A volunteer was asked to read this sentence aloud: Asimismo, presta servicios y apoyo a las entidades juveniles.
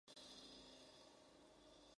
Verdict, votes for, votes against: rejected, 0, 2